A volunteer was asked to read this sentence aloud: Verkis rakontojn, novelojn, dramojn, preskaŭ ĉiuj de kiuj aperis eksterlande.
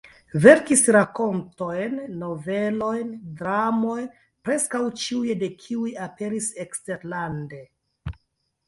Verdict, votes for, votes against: rejected, 0, 2